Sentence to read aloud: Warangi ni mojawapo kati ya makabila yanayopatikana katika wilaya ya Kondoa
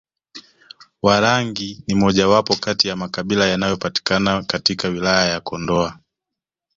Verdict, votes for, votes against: rejected, 0, 2